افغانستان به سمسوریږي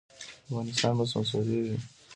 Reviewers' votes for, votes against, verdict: 3, 0, accepted